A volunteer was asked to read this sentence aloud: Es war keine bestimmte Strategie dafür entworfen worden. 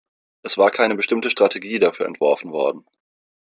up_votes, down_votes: 2, 0